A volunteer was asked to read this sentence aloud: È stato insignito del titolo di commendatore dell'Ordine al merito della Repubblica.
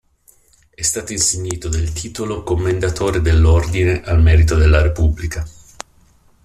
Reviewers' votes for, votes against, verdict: 1, 2, rejected